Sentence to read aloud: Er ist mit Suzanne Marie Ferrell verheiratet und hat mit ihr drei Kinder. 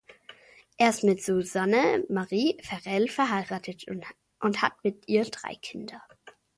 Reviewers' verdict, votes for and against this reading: rejected, 0, 2